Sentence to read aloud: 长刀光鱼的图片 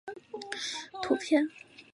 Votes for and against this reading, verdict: 0, 2, rejected